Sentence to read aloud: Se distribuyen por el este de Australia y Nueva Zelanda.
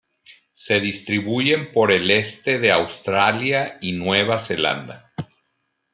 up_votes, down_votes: 2, 0